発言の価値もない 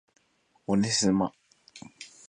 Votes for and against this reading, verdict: 0, 3, rejected